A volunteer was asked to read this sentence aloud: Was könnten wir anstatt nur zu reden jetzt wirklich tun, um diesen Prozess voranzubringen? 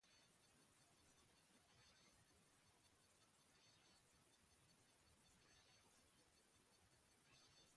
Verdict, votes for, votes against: rejected, 0, 2